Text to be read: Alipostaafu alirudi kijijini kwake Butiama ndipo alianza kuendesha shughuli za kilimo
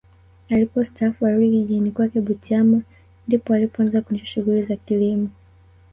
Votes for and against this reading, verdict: 2, 3, rejected